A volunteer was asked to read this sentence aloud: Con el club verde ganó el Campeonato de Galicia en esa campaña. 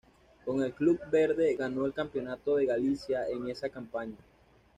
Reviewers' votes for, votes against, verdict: 2, 0, accepted